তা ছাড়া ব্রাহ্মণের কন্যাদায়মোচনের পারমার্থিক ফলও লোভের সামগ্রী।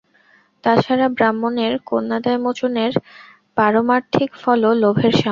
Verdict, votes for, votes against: rejected, 0, 2